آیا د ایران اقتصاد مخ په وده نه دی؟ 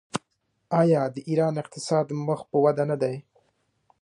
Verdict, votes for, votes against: accepted, 2, 0